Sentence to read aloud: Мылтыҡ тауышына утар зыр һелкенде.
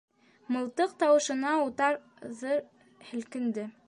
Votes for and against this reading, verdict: 0, 2, rejected